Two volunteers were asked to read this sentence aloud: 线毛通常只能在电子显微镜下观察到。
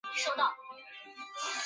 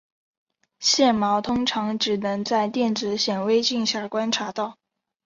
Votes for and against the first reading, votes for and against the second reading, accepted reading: 0, 4, 6, 0, second